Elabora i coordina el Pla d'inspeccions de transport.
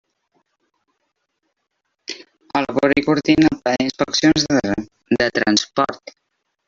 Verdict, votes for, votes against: rejected, 0, 2